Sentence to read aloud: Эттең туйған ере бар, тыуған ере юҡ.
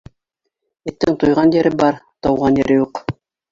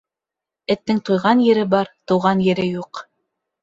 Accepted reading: second